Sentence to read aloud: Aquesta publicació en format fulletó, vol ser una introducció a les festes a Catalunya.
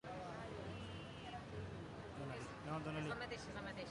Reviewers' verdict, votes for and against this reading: rejected, 0, 2